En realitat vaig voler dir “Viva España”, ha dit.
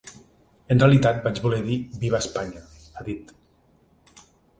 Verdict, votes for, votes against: accepted, 2, 0